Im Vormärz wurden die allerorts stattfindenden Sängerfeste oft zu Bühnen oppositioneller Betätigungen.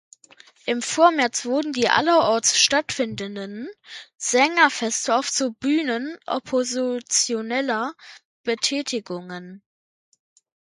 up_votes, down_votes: 0, 2